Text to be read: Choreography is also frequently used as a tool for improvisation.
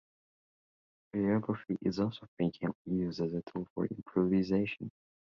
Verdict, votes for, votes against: rejected, 1, 2